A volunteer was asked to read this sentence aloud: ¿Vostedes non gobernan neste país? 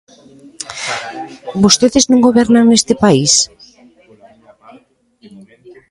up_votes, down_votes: 0, 2